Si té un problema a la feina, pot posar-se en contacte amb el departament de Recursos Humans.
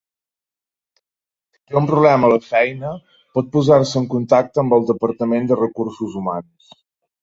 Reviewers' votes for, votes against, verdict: 0, 2, rejected